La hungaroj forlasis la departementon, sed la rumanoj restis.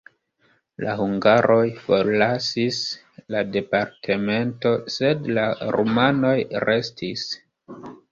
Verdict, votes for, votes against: rejected, 0, 2